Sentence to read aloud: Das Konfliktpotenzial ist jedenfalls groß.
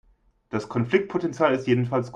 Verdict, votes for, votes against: rejected, 0, 3